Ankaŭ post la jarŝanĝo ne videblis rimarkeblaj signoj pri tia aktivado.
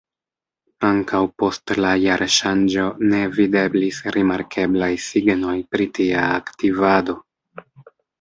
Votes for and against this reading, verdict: 1, 2, rejected